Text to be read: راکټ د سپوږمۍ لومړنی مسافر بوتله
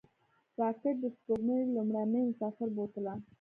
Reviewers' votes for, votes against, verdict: 1, 2, rejected